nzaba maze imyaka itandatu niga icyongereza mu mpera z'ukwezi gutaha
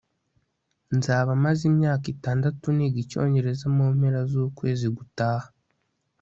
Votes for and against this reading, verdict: 2, 0, accepted